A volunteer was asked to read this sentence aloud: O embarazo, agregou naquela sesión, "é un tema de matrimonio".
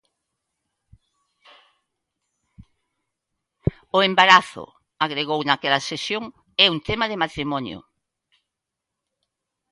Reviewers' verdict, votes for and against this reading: accepted, 2, 0